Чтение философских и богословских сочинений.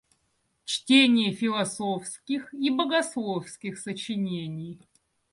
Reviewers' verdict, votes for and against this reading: accepted, 2, 0